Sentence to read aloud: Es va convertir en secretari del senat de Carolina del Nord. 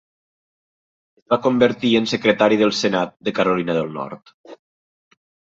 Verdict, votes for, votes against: rejected, 0, 2